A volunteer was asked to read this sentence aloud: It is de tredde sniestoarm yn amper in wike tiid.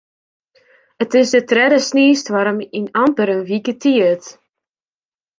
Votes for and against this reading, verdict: 1, 2, rejected